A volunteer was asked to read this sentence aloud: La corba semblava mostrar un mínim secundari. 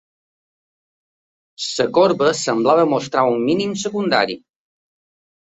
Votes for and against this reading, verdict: 1, 2, rejected